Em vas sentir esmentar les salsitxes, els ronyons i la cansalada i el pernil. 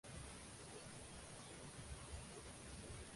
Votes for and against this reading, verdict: 0, 2, rejected